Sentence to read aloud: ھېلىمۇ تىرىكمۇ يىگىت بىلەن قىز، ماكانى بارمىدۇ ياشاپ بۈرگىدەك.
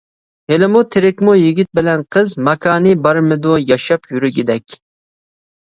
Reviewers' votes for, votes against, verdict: 1, 2, rejected